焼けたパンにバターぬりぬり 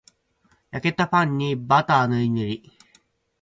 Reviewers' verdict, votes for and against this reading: accepted, 4, 0